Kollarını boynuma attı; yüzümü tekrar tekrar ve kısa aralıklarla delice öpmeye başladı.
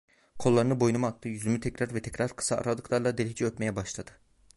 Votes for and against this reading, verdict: 1, 2, rejected